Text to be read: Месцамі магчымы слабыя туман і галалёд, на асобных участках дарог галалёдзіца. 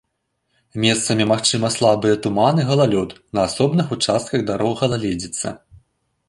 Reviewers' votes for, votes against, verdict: 1, 2, rejected